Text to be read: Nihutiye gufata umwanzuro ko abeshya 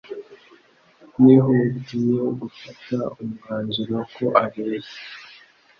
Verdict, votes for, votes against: accepted, 2, 0